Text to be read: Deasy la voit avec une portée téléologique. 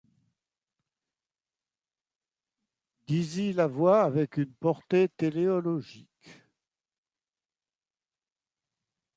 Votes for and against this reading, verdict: 2, 1, accepted